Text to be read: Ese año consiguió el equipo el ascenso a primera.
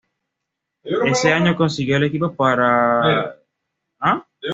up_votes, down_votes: 1, 2